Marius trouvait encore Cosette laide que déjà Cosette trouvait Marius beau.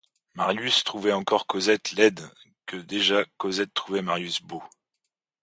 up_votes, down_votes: 2, 0